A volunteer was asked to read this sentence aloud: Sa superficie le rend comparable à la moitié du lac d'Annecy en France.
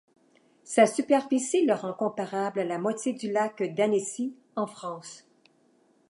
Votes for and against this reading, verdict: 2, 1, accepted